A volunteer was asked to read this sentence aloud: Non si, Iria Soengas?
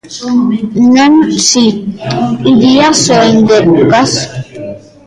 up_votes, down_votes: 0, 2